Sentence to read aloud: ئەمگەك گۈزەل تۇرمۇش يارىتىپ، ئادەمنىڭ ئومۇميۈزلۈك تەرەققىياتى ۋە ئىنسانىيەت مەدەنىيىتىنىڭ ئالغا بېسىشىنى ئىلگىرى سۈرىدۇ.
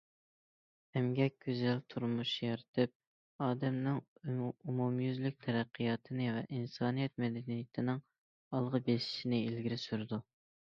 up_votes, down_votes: 2, 1